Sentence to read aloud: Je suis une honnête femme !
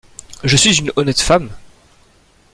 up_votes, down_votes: 0, 2